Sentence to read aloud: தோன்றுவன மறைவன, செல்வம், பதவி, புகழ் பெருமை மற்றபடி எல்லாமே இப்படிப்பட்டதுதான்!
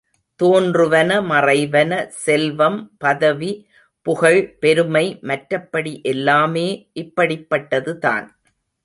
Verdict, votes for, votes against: accepted, 2, 0